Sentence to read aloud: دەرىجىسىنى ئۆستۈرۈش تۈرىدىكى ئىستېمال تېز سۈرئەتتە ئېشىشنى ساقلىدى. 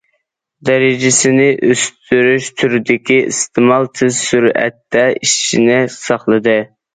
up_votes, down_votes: 2, 0